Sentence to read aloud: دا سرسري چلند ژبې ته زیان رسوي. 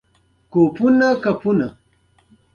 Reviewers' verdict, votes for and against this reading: accepted, 2, 0